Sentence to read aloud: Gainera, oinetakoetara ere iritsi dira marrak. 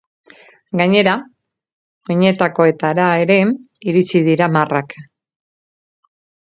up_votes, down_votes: 2, 4